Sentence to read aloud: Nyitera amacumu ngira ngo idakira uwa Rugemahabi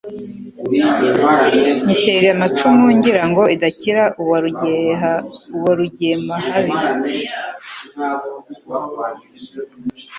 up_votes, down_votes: 4, 3